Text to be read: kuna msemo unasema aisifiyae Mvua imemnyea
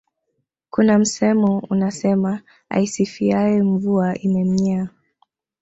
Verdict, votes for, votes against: rejected, 1, 2